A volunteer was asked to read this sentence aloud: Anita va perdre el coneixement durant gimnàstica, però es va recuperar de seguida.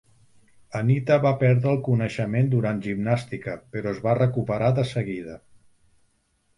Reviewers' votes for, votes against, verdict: 3, 0, accepted